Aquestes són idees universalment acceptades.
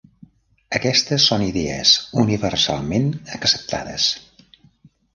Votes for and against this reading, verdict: 3, 0, accepted